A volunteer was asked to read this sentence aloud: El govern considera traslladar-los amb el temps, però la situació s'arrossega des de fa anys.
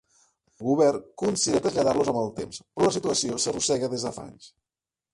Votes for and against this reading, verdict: 2, 1, accepted